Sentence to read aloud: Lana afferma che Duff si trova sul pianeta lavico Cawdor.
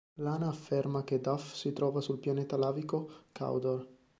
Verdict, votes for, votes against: accepted, 2, 0